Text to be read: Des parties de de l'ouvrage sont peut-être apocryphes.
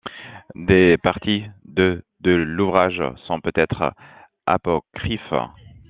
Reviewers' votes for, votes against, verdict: 0, 2, rejected